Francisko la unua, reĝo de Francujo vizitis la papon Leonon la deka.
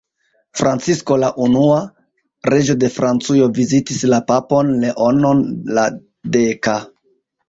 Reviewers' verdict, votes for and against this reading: rejected, 0, 2